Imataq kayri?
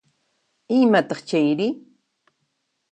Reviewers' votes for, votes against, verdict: 1, 2, rejected